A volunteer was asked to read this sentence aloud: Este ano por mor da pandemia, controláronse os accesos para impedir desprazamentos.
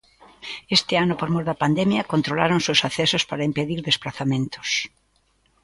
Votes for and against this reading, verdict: 2, 0, accepted